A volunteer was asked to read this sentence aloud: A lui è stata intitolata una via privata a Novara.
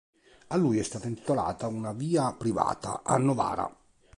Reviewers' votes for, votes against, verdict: 2, 0, accepted